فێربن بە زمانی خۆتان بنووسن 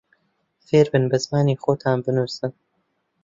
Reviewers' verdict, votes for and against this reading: accepted, 2, 0